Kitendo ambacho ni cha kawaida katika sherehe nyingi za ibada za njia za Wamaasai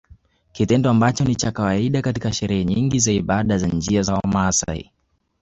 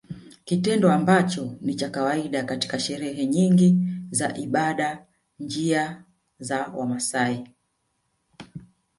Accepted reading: first